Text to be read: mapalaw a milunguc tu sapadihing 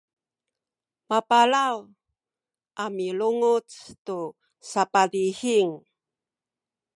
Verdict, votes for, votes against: accepted, 2, 0